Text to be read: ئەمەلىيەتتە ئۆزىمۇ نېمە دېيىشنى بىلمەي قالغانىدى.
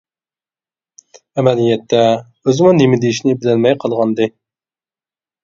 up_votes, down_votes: 1, 2